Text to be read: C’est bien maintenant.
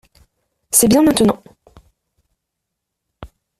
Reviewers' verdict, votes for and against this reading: rejected, 1, 2